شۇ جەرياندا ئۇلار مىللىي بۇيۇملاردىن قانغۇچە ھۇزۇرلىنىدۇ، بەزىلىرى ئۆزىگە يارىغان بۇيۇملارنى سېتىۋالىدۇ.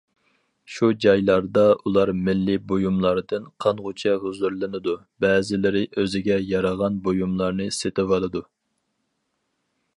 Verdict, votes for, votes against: rejected, 0, 4